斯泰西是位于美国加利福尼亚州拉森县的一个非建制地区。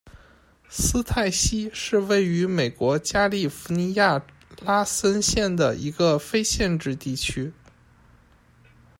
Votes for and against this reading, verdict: 0, 2, rejected